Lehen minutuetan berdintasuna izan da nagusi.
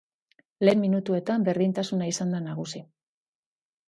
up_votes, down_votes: 2, 0